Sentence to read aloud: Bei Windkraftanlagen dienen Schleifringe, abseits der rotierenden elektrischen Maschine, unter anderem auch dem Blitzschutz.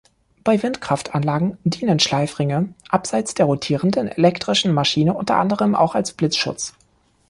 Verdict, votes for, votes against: rejected, 0, 2